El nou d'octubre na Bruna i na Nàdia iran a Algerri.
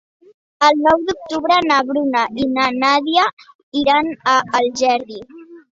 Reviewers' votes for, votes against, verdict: 3, 0, accepted